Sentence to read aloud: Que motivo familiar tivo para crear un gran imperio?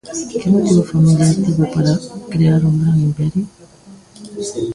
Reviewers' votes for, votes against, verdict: 0, 2, rejected